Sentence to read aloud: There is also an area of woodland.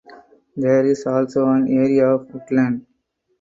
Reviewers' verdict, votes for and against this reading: accepted, 4, 0